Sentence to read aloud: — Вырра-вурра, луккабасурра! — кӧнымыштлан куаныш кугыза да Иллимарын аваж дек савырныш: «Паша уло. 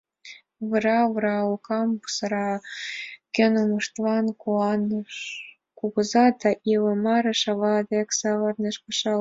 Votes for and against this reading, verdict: 1, 2, rejected